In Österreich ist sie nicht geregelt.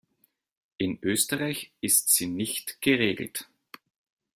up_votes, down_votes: 2, 0